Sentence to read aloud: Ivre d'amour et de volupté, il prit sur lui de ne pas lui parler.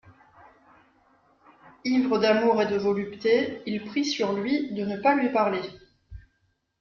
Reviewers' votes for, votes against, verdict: 2, 0, accepted